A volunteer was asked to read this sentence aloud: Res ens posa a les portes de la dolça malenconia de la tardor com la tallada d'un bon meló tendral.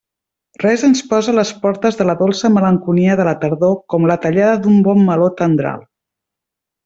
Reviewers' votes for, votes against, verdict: 2, 0, accepted